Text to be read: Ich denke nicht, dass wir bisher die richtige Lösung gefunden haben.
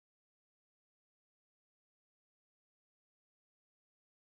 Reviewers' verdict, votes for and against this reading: rejected, 0, 2